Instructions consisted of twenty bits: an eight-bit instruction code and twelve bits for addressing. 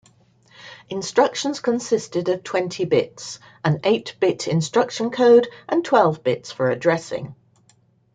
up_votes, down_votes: 2, 0